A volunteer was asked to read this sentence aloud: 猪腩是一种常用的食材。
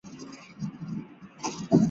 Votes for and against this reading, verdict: 0, 5, rejected